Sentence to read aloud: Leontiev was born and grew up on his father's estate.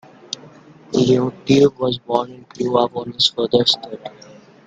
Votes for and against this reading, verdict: 1, 2, rejected